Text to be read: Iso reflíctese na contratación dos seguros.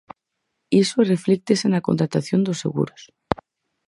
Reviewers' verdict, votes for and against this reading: accepted, 4, 0